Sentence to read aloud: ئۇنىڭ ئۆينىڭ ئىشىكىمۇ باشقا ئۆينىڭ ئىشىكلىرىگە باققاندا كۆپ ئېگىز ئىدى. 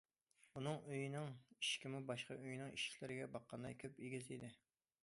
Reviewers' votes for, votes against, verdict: 2, 0, accepted